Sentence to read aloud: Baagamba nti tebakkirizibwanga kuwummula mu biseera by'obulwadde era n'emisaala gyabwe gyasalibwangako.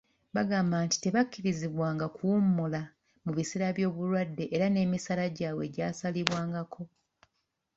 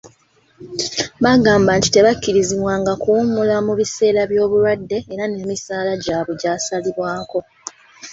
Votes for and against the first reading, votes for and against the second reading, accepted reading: 1, 2, 2, 1, second